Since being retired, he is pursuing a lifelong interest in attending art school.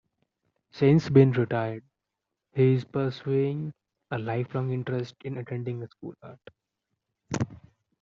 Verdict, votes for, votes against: rejected, 0, 3